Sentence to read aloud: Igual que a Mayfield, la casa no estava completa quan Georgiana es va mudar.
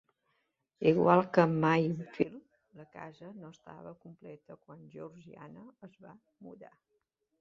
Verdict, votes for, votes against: rejected, 1, 2